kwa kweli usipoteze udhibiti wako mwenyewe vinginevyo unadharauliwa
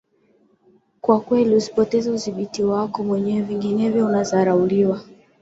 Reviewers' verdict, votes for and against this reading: accepted, 2, 1